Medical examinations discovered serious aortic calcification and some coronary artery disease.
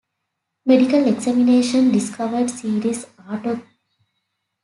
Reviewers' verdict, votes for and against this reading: accepted, 2, 1